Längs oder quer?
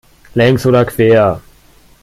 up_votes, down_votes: 2, 0